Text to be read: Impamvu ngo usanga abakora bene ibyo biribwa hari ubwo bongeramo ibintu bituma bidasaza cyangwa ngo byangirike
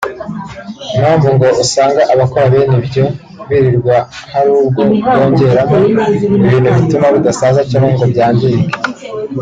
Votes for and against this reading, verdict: 0, 2, rejected